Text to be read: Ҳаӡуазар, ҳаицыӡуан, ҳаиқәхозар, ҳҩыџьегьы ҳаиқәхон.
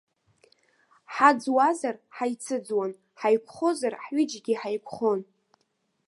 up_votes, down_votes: 2, 0